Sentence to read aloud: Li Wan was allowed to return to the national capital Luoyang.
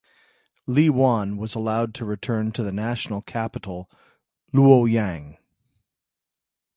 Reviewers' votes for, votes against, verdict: 2, 0, accepted